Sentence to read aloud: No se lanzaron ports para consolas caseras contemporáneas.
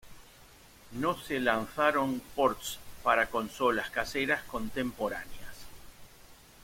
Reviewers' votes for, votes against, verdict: 2, 0, accepted